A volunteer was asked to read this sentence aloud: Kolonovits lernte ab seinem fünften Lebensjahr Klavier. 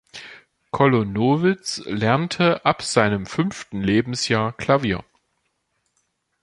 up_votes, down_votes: 2, 0